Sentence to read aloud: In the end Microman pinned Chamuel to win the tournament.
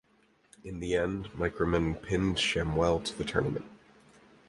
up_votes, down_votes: 0, 4